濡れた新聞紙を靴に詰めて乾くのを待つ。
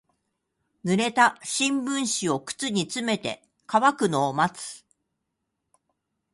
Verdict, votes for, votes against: accepted, 2, 0